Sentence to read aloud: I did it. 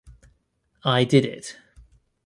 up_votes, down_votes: 2, 0